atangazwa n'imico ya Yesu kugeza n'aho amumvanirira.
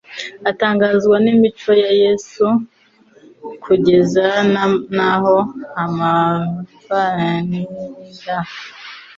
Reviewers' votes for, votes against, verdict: 0, 2, rejected